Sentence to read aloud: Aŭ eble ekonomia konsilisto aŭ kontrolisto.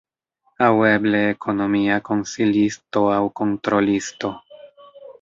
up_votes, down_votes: 1, 2